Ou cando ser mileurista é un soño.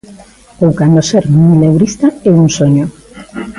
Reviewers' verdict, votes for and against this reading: accepted, 2, 1